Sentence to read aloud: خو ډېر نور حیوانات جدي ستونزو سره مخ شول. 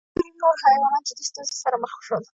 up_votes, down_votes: 2, 1